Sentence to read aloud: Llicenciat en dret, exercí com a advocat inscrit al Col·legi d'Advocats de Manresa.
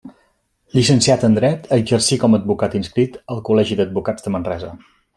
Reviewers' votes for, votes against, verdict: 3, 0, accepted